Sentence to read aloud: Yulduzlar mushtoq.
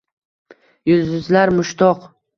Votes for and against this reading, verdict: 2, 0, accepted